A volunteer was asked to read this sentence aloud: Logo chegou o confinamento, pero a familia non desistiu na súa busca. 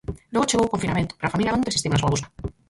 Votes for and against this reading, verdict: 0, 4, rejected